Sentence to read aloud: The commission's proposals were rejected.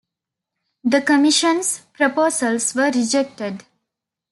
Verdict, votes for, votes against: accepted, 2, 1